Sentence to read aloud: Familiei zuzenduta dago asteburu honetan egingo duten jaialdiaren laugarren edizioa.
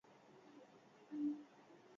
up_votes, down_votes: 0, 2